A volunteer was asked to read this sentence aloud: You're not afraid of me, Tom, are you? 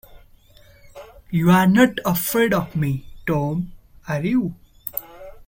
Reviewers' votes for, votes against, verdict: 2, 1, accepted